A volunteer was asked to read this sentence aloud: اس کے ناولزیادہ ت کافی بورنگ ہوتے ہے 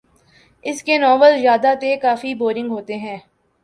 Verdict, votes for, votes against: accepted, 2, 0